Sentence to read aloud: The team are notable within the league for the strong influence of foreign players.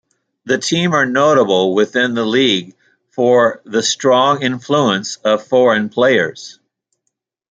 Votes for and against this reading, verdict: 2, 0, accepted